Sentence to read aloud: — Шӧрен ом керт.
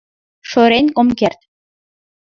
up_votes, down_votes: 0, 2